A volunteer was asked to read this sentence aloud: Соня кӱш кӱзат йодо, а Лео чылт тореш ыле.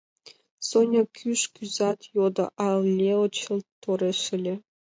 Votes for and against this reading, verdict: 2, 0, accepted